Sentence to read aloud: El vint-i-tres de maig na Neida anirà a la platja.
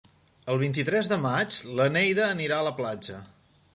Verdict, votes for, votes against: accepted, 3, 1